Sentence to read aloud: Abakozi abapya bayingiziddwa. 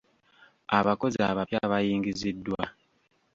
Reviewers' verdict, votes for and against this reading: accepted, 2, 0